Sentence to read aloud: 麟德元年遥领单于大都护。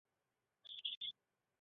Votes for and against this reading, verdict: 0, 2, rejected